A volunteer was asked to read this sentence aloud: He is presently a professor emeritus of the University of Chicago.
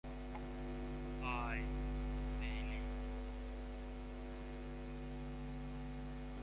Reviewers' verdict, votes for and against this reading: rejected, 0, 2